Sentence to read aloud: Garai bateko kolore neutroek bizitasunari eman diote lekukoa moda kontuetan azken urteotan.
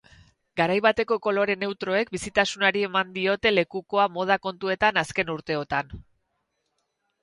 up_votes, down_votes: 4, 0